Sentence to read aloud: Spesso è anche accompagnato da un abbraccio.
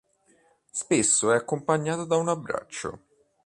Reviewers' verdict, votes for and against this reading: rejected, 1, 2